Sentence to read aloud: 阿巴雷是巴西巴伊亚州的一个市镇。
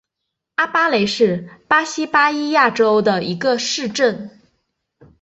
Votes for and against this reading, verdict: 8, 0, accepted